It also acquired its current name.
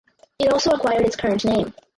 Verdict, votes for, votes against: rejected, 0, 2